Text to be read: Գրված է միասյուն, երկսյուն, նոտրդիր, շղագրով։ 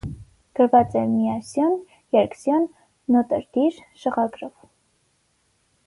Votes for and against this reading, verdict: 6, 0, accepted